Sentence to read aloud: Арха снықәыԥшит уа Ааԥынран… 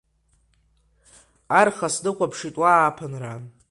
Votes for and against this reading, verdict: 2, 1, accepted